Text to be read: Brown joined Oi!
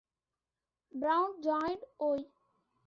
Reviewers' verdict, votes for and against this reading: accepted, 2, 0